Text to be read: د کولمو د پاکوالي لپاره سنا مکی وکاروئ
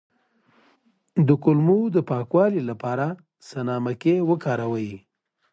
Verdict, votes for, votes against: accepted, 2, 0